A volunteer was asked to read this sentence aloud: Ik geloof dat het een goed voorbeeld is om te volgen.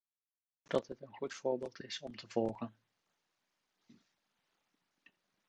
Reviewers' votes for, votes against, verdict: 1, 2, rejected